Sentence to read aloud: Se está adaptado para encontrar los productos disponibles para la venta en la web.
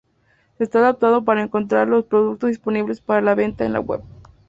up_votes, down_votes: 2, 0